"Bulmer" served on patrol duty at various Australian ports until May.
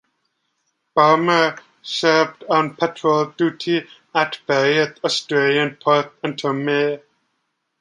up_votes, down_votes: 0, 2